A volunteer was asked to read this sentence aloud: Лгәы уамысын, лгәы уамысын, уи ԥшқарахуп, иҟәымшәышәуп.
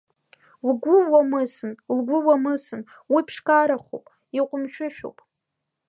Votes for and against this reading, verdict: 2, 1, accepted